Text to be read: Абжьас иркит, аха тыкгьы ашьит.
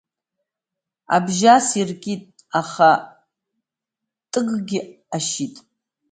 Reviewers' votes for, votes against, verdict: 1, 2, rejected